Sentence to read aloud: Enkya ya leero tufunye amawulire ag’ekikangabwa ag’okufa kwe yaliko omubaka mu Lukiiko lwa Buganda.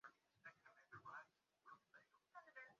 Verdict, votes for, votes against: rejected, 0, 2